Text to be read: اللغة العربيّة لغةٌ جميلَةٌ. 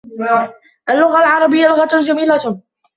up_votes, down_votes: 0, 2